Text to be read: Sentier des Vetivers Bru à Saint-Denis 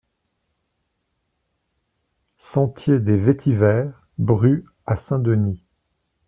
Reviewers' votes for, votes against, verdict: 1, 2, rejected